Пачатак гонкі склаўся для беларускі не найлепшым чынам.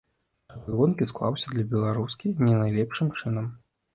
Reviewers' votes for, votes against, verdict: 0, 2, rejected